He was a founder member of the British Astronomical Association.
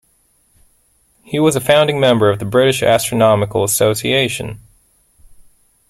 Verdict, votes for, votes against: rejected, 0, 2